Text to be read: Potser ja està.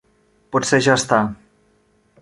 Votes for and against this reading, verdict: 3, 1, accepted